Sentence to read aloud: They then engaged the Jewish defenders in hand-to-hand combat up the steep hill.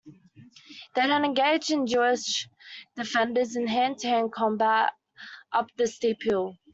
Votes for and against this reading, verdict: 2, 1, accepted